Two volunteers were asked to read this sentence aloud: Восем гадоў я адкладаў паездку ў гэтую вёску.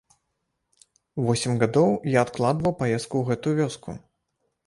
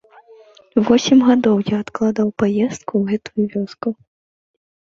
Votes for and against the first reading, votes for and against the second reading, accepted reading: 1, 2, 2, 0, second